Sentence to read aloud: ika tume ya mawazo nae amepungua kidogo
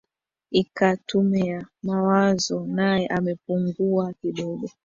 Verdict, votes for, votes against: rejected, 1, 2